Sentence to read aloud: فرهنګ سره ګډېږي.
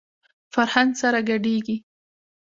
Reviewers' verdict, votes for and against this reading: rejected, 1, 2